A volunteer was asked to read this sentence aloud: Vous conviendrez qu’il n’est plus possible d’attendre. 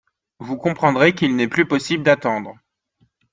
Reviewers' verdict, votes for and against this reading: rejected, 0, 2